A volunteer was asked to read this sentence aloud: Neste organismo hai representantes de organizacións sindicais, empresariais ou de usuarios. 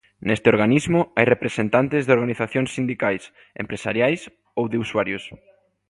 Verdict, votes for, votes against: accepted, 2, 0